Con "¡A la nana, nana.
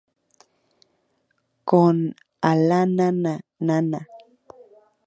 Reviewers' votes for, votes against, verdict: 2, 0, accepted